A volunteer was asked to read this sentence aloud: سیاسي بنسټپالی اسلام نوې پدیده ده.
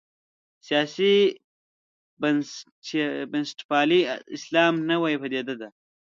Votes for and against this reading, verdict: 1, 2, rejected